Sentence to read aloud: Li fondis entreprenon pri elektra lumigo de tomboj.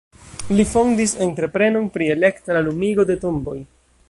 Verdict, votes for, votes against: rejected, 0, 2